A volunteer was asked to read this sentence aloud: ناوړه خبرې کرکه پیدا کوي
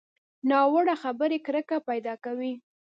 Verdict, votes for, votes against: accepted, 2, 0